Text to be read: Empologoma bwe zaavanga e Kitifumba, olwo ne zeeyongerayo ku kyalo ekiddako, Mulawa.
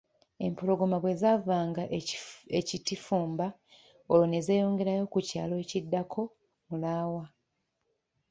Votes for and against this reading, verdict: 1, 2, rejected